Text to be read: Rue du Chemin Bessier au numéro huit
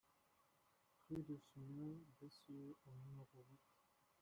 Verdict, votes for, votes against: rejected, 0, 2